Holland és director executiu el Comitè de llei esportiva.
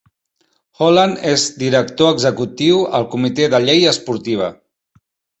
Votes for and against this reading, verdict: 3, 0, accepted